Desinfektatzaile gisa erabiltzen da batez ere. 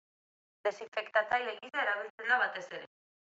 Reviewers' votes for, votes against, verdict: 2, 0, accepted